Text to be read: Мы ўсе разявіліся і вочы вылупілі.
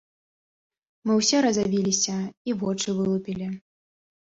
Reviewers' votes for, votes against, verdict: 0, 2, rejected